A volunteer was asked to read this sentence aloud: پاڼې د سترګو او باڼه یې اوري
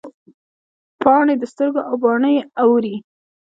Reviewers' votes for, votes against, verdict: 1, 2, rejected